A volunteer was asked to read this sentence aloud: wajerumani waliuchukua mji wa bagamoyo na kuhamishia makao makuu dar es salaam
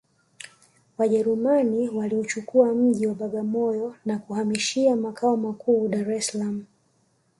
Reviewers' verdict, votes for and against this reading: accepted, 2, 1